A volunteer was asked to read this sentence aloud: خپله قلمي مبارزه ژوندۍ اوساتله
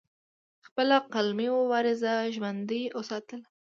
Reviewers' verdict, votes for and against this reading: accepted, 2, 0